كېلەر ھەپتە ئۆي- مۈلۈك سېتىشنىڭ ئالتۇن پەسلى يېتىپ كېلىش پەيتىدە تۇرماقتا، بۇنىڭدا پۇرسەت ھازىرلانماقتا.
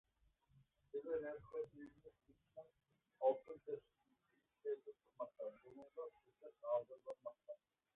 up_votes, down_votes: 0, 2